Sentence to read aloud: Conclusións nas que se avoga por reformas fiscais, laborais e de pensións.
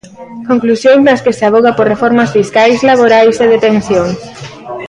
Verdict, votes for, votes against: rejected, 0, 2